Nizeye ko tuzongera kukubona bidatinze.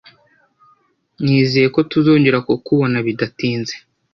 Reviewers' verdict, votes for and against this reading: accepted, 2, 0